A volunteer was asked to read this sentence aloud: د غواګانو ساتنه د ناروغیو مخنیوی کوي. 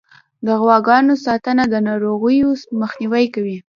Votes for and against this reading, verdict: 2, 0, accepted